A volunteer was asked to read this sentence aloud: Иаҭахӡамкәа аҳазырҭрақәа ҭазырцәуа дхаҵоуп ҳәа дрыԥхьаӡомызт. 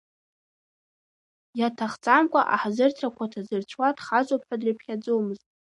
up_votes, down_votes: 1, 2